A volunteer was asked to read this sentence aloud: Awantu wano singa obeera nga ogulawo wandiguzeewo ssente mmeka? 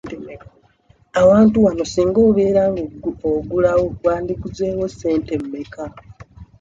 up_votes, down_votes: 1, 2